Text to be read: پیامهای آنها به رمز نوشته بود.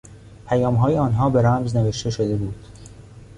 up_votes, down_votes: 2, 0